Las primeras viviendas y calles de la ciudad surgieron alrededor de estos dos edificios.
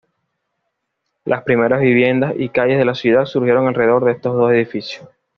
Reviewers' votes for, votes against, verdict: 2, 0, accepted